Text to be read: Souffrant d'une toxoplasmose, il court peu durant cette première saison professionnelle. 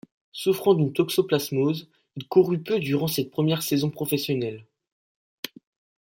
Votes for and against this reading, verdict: 1, 2, rejected